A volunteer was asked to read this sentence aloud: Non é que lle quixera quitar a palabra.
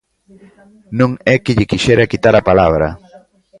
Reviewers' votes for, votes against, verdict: 2, 1, accepted